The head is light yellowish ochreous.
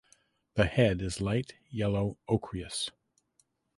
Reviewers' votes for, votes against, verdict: 2, 3, rejected